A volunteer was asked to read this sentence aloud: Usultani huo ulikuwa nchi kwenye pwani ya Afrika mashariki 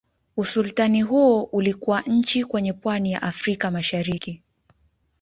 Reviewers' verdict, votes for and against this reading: rejected, 1, 2